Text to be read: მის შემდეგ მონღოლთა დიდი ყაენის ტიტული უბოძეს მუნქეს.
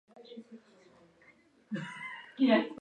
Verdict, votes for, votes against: rejected, 0, 2